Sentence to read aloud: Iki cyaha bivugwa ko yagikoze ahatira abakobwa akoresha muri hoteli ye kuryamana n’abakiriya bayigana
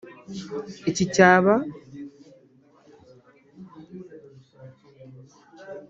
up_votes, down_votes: 0, 2